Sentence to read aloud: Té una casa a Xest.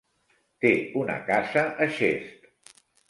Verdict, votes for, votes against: accepted, 3, 1